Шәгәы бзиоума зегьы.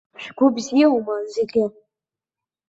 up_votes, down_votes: 2, 1